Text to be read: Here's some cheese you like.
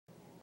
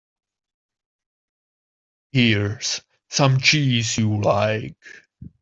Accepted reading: second